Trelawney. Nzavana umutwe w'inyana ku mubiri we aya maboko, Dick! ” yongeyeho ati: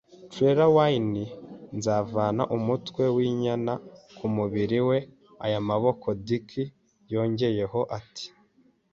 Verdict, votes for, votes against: accepted, 4, 0